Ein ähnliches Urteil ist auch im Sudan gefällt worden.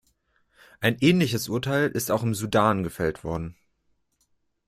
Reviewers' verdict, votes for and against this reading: accepted, 2, 0